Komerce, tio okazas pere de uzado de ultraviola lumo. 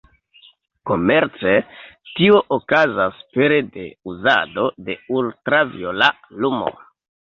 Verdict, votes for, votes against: rejected, 1, 2